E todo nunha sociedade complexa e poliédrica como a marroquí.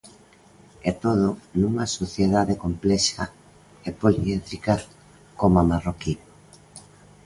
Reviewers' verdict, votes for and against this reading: accepted, 2, 0